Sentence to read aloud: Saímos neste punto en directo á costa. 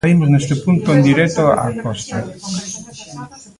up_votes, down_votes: 0, 2